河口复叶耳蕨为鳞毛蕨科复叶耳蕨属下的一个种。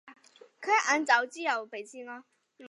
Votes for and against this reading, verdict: 3, 1, accepted